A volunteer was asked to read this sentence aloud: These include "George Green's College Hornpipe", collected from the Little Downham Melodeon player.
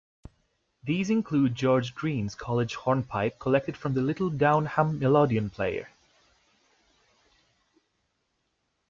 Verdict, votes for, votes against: accepted, 2, 0